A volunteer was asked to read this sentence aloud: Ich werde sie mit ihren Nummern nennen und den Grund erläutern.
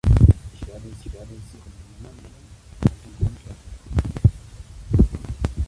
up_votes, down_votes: 0, 2